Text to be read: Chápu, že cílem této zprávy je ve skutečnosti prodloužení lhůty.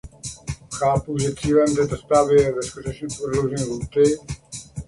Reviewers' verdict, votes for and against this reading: rejected, 0, 2